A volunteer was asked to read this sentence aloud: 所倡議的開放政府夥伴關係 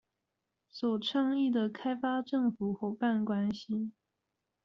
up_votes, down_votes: 1, 2